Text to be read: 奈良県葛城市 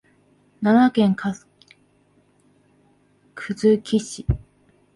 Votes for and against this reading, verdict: 0, 2, rejected